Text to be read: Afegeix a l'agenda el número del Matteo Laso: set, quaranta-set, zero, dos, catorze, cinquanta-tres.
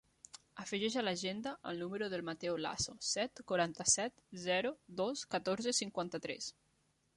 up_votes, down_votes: 1, 2